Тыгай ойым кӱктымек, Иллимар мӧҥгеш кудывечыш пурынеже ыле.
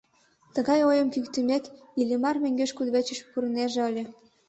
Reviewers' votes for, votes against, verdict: 2, 0, accepted